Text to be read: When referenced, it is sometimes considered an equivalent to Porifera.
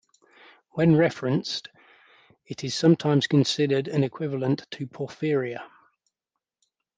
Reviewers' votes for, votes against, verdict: 1, 2, rejected